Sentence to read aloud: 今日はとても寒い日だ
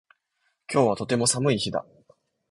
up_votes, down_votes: 1, 2